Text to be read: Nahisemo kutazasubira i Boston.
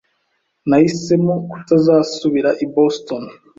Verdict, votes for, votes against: accepted, 2, 0